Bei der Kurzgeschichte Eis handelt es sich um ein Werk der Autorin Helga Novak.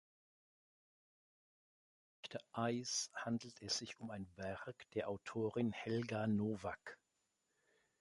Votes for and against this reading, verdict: 0, 2, rejected